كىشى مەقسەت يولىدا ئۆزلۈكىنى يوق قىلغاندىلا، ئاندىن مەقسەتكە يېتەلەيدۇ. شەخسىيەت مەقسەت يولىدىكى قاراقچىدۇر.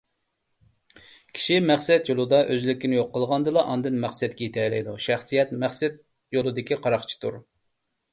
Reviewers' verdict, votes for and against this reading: accepted, 2, 0